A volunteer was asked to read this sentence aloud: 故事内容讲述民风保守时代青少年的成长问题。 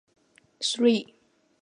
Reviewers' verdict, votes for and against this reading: rejected, 1, 5